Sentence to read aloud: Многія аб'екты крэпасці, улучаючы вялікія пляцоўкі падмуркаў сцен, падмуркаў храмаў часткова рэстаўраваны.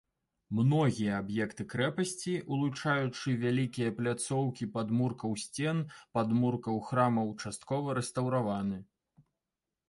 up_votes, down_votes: 2, 0